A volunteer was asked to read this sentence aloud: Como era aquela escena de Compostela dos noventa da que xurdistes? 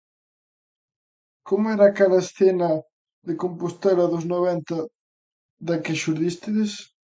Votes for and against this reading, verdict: 0, 2, rejected